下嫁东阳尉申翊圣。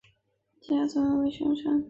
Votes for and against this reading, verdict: 3, 4, rejected